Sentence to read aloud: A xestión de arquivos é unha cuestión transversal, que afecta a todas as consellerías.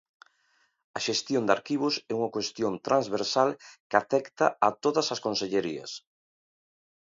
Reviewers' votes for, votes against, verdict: 2, 1, accepted